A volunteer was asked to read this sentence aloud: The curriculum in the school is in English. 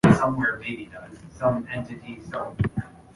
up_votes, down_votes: 0, 2